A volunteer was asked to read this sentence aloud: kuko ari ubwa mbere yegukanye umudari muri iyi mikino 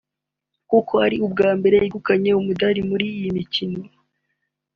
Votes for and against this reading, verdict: 2, 0, accepted